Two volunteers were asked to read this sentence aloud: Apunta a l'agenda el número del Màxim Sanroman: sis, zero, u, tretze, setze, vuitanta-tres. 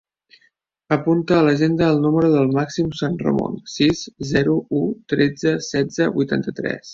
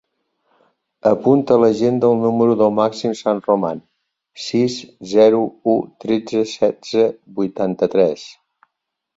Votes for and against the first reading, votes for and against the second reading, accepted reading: 0, 2, 2, 0, second